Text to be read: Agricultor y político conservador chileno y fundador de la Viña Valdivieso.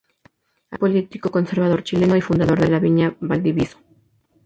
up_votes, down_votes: 0, 6